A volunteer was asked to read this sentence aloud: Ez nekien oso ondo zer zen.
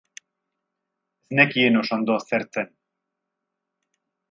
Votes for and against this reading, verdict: 2, 2, rejected